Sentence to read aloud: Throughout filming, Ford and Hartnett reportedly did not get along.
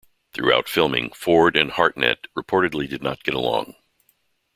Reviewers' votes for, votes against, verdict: 2, 0, accepted